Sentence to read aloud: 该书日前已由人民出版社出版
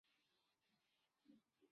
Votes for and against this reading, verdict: 1, 5, rejected